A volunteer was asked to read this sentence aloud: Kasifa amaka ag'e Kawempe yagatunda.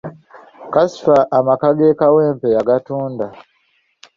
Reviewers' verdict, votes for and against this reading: rejected, 1, 2